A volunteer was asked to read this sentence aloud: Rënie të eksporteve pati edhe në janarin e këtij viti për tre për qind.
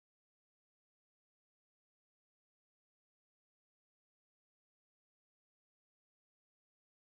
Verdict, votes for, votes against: rejected, 0, 2